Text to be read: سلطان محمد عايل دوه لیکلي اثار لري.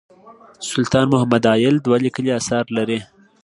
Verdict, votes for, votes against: accepted, 2, 0